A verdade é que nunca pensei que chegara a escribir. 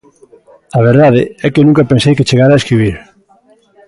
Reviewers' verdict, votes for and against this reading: accepted, 2, 0